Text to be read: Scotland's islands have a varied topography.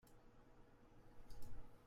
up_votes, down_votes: 0, 2